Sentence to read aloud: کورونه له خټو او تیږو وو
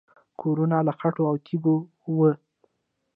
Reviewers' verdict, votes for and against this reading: rejected, 1, 2